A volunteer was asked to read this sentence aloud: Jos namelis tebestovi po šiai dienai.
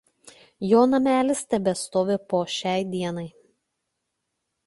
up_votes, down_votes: 1, 2